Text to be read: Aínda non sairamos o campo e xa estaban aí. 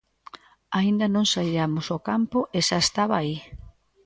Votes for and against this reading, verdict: 1, 2, rejected